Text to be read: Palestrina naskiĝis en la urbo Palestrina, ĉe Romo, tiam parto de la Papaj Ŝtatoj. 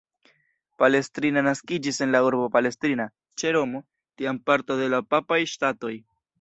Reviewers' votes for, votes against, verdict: 2, 0, accepted